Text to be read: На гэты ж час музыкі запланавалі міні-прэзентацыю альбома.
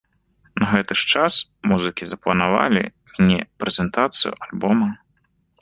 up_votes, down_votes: 1, 2